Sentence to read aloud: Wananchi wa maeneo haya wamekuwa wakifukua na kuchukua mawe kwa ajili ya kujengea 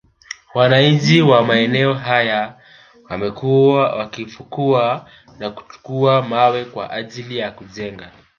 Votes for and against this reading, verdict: 0, 2, rejected